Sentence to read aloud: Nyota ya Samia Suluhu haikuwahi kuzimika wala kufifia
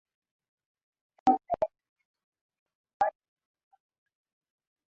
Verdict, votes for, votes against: rejected, 0, 6